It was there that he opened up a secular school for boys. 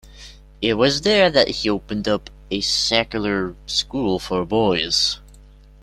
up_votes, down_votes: 2, 0